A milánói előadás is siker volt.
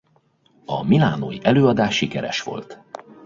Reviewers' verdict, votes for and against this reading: rejected, 0, 2